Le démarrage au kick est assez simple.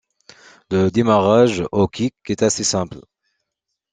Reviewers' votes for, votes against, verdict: 2, 0, accepted